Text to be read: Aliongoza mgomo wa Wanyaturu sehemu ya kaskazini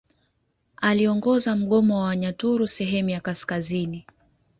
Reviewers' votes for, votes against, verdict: 0, 2, rejected